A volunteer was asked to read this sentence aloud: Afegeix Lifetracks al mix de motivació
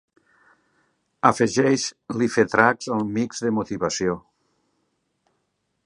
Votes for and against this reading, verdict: 1, 2, rejected